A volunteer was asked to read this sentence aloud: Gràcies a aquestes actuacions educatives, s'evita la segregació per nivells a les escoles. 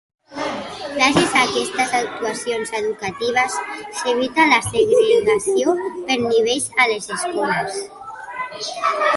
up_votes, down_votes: 1, 2